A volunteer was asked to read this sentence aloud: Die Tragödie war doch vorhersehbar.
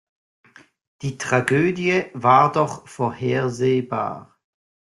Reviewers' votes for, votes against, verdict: 0, 2, rejected